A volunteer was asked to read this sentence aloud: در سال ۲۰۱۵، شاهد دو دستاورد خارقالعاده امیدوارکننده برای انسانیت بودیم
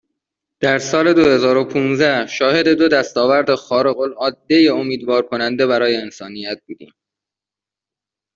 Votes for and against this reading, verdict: 0, 2, rejected